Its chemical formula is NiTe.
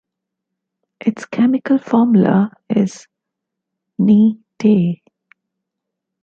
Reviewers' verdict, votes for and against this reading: rejected, 1, 2